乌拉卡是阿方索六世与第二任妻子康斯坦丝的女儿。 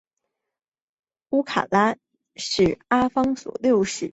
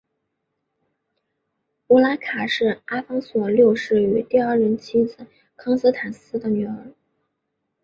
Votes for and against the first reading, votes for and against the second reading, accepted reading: 0, 5, 4, 0, second